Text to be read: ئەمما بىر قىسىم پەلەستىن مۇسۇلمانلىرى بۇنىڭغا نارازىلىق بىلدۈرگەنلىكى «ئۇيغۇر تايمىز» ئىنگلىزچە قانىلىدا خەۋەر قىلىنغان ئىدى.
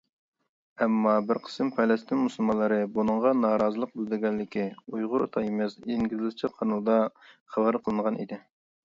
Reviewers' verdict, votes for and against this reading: rejected, 1, 2